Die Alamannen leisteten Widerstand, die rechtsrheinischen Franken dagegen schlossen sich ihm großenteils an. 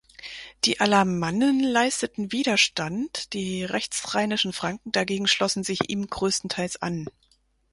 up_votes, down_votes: 0, 4